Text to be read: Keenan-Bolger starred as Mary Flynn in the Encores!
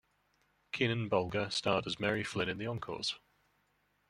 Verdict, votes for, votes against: accepted, 2, 1